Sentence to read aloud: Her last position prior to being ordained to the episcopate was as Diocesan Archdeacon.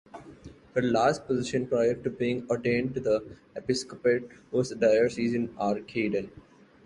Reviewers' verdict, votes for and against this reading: rejected, 0, 2